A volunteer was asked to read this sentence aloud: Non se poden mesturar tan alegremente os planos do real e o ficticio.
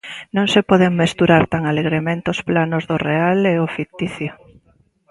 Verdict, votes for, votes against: accepted, 2, 0